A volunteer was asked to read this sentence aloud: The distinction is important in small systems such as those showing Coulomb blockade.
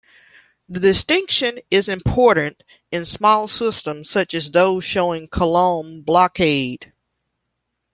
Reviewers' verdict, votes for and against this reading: rejected, 0, 2